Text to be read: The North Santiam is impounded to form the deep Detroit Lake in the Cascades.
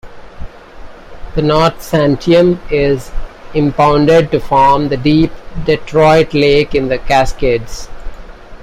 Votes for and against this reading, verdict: 2, 0, accepted